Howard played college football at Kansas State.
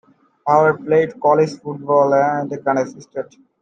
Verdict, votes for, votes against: rejected, 0, 2